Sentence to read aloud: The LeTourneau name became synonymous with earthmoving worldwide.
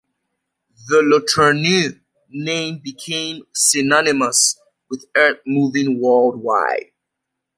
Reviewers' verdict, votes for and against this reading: accepted, 2, 0